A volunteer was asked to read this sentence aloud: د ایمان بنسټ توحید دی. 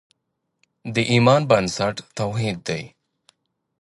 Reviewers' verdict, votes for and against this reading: accepted, 2, 0